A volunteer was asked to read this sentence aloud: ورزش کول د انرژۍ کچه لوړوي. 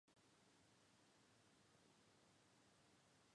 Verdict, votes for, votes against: rejected, 0, 2